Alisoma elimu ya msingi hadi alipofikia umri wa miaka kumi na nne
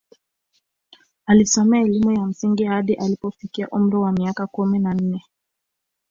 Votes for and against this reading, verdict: 2, 1, accepted